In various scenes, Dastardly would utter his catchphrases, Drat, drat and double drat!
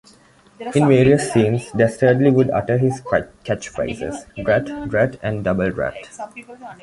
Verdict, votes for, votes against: rejected, 0, 2